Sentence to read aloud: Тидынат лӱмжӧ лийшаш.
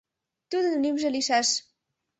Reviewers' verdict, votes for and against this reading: rejected, 0, 2